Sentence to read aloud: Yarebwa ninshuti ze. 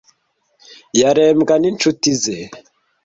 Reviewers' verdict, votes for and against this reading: rejected, 1, 2